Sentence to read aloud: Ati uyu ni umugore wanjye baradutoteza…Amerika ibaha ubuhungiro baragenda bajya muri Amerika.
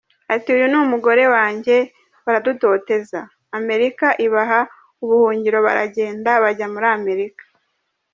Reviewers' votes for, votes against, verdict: 1, 2, rejected